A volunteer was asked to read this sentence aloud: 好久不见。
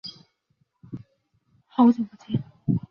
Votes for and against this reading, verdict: 0, 2, rejected